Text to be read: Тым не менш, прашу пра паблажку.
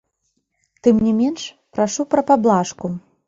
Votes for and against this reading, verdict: 2, 1, accepted